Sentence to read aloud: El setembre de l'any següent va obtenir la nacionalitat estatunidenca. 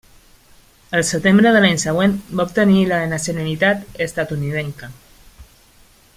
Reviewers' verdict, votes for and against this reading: accepted, 2, 0